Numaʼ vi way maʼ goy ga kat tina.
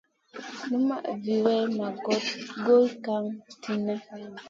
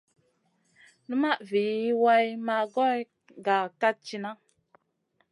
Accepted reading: second